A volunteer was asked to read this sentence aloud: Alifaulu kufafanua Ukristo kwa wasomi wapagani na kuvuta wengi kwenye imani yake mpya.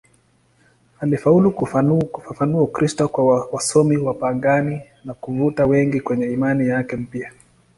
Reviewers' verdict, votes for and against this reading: accepted, 2, 0